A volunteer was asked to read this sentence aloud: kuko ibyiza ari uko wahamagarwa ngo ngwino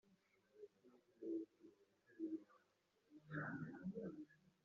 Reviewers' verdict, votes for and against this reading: rejected, 0, 2